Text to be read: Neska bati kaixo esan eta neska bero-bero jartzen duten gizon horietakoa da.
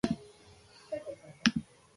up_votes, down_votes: 0, 2